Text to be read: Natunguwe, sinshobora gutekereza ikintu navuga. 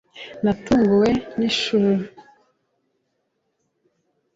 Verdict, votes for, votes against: rejected, 0, 2